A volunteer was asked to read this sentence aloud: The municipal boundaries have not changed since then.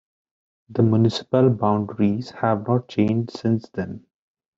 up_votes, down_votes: 2, 1